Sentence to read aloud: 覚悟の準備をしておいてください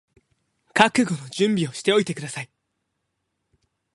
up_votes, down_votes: 12, 2